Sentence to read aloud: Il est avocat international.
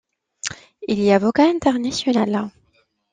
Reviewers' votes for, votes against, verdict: 0, 2, rejected